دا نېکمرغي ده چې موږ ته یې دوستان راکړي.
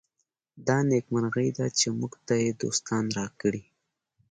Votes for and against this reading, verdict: 2, 0, accepted